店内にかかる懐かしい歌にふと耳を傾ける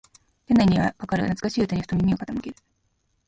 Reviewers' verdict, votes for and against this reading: rejected, 1, 3